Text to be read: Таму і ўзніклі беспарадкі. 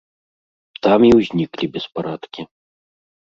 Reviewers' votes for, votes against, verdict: 1, 2, rejected